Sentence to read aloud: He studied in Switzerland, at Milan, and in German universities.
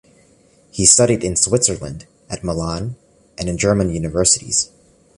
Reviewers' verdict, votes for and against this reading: accepted, 2, 0